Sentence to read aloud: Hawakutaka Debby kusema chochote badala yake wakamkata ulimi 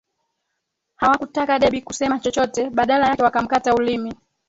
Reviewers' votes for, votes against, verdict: 2, 3, rejected